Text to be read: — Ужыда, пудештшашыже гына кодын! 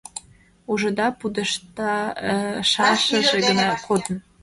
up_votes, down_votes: 0, 2